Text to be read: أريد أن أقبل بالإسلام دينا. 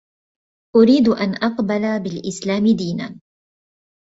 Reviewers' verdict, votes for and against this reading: accepted, 2, 0